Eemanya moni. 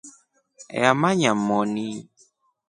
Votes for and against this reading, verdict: 2, 0, accepted